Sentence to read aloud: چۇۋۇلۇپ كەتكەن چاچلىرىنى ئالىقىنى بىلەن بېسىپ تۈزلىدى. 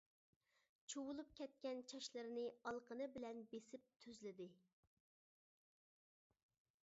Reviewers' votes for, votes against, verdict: 2, 0, accepted